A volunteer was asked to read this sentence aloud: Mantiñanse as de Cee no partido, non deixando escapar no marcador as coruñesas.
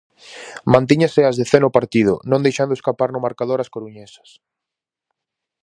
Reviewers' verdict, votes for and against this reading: rejected, 0, 2